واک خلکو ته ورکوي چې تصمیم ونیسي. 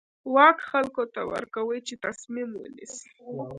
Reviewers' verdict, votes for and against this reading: accepted, 2, 0